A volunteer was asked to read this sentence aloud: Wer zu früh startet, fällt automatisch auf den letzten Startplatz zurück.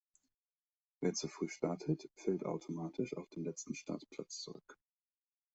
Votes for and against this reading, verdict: 2, 0, accepted